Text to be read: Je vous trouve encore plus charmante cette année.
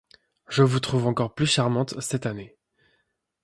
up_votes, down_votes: 2, 1